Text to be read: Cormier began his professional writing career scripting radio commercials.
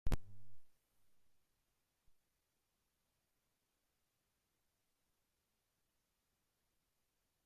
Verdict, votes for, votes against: rejected, 0, 2